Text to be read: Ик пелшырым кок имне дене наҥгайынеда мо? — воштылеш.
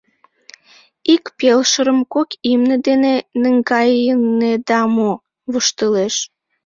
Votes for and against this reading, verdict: 1, 2, rejected